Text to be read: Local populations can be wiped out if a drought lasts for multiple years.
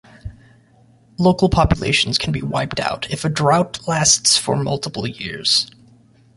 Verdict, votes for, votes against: accepted, 2, 0